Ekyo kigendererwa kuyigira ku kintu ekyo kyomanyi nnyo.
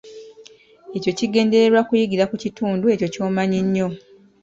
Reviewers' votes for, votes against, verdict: 2, 0, accepted